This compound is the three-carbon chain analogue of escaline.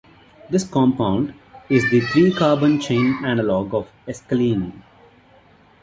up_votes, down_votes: 0, 2